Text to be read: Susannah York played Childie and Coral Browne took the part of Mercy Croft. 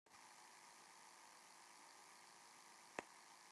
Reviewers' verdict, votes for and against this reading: rejected, 0, 2